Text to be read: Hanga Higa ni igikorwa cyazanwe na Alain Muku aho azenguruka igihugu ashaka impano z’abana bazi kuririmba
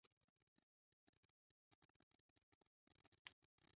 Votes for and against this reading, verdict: 0, 2, rejected